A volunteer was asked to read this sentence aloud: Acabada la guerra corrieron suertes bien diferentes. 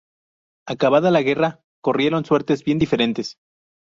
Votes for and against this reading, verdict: 4, 0, accepted